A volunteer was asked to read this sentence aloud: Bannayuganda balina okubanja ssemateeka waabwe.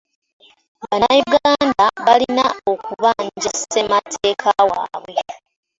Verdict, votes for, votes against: accepted, 2, 0